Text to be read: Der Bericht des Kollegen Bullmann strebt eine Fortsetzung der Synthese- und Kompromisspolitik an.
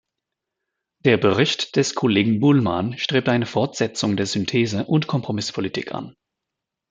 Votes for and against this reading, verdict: 2, 0, accepted